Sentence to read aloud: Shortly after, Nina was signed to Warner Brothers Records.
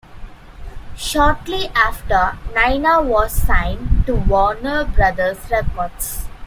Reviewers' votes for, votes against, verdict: 2, 0, accepted